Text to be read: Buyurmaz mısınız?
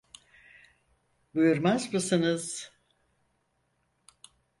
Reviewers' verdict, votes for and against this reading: accepted, 4, 0